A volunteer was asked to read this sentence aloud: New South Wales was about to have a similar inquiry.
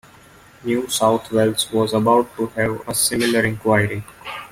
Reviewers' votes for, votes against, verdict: 2, 0, accepted